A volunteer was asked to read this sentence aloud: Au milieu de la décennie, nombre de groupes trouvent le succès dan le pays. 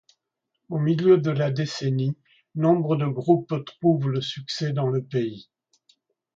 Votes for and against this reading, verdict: 2, 1, accepted